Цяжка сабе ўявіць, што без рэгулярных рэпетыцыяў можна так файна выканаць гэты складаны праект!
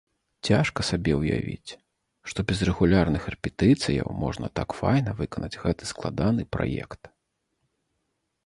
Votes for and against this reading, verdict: 2, 0, accepted